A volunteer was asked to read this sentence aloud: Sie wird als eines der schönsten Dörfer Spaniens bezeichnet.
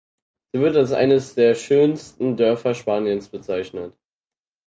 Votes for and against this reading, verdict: 4, 0, accepted